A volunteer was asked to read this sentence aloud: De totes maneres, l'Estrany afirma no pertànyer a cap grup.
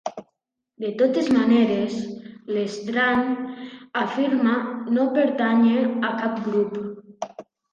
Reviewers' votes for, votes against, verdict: 2, 1, accepted